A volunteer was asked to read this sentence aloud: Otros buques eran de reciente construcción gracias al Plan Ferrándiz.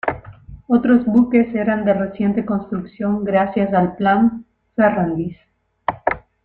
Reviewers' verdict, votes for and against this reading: accepted, 2, 1